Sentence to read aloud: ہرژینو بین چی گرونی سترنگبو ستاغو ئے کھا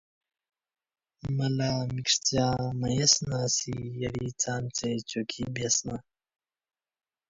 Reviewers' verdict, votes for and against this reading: rejected, 1, 2